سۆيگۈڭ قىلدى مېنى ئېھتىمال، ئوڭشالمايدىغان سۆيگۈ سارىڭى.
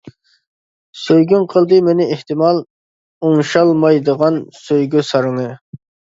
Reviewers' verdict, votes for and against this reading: accepted, 2, 0